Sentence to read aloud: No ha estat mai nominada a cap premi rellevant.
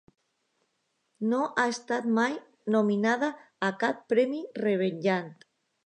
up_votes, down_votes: 0, 2